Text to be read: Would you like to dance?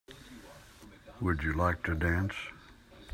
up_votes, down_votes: 2, 1